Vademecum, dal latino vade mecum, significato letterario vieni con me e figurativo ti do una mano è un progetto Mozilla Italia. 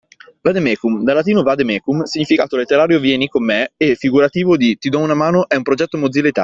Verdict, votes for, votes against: rejected, 0, 2